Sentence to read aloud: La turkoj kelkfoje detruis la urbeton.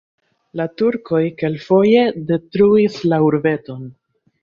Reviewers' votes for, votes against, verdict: 1, 3, rejected